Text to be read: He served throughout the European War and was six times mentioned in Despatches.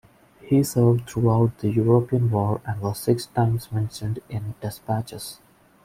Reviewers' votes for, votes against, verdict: 2, 0, accepted